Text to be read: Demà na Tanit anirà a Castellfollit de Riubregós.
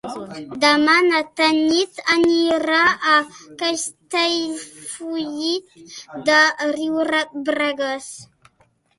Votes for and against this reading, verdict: 0, 2, rejected